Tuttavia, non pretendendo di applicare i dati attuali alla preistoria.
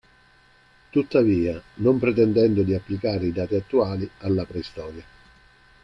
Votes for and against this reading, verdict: 1, 2, rejected